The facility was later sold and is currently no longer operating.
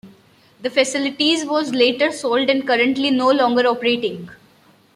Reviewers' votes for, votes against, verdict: 2, 0, accepted